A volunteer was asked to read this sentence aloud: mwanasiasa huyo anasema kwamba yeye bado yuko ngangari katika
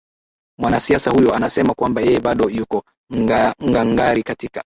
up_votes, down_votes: 2, 2